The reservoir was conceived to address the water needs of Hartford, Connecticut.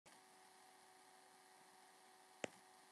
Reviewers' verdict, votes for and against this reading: rejected, 0, 2